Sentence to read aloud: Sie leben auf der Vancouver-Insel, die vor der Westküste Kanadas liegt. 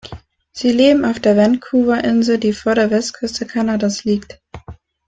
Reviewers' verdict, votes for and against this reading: accepted, 2, 1